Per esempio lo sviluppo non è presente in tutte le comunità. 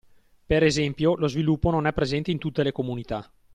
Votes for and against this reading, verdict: 2, 0, accepted